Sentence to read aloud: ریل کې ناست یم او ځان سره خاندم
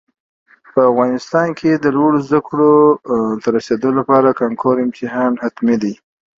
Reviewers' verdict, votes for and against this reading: rejected, 0, 2